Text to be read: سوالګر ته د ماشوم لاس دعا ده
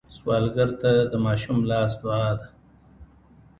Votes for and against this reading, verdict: 1, 2, rejected